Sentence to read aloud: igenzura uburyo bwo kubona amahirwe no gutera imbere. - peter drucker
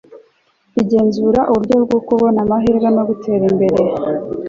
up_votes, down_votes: 0, 2